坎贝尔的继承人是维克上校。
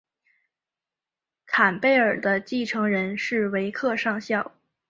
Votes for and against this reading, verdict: 2, 0, accepted